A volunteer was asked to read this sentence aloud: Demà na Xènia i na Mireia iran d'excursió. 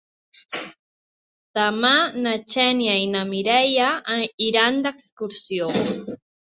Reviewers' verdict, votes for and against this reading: rejected, 0, 2